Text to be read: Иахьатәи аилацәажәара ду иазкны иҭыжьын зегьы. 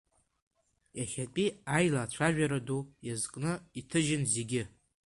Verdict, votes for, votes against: accepted, 2, 1